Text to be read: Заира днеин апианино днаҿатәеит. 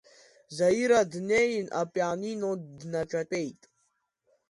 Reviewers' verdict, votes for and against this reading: accepted, 2, 0